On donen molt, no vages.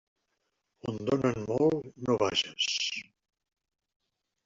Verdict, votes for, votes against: rejected, 0, 2